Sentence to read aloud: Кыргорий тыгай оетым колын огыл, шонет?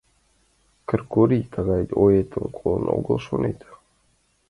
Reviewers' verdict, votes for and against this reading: accepted, 2, 0